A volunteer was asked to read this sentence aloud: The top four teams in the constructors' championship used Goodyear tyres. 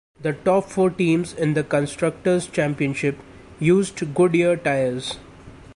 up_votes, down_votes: 2, 0